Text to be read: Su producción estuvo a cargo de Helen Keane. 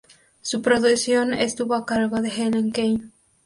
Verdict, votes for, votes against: accepted, 4, 2